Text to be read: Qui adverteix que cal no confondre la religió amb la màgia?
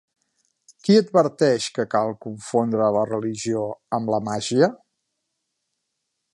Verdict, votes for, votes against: rejected, 1, 2